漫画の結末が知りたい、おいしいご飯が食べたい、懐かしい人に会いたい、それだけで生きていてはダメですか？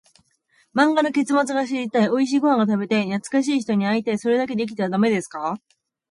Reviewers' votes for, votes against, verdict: 1, 2, rejected